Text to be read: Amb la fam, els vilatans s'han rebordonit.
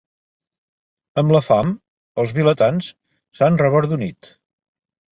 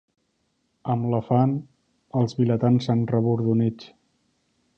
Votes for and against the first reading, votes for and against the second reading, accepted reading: 0, 2, 2, 1, second